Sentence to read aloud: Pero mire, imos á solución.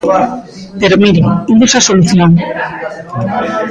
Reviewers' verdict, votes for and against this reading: rejected, 1, 2